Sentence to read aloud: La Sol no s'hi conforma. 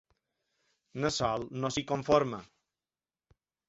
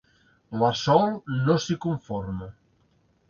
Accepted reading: second